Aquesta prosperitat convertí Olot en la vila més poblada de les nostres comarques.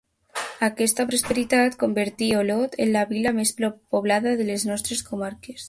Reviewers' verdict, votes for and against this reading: accepted, 2, 1